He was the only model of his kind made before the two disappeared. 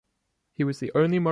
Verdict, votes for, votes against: rejected, 1, 2